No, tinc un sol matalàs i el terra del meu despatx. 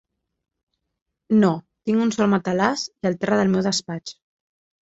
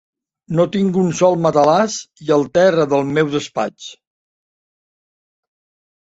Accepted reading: first